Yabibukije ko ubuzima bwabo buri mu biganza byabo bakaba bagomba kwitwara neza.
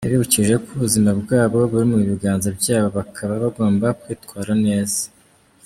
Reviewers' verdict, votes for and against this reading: accepted, 2, 0